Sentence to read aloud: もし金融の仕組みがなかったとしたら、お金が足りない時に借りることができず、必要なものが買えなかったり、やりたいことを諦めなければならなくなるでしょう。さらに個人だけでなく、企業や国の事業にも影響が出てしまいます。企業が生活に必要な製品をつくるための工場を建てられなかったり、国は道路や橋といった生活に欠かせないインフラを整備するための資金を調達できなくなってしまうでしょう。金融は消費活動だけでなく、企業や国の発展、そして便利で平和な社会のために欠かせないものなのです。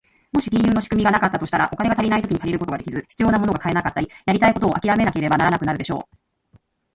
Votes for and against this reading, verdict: 0, 2, rejected